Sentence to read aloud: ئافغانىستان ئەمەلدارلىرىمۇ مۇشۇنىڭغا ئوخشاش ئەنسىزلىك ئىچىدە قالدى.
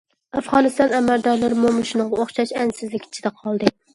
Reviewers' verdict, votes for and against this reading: accepted, 2, 0